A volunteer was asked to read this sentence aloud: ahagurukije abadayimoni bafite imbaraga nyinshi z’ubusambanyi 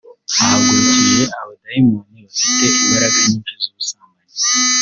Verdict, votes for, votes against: rejected, 0, 2